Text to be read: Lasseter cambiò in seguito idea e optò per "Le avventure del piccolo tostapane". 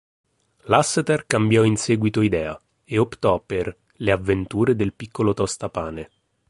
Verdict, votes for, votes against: accepted, 2, 0